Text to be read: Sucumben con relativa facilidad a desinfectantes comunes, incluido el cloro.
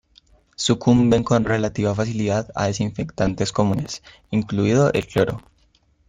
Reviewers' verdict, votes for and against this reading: accepted, 2, 0